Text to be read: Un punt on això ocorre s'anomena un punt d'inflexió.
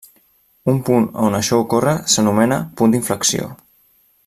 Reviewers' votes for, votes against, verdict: 1, 2, rejected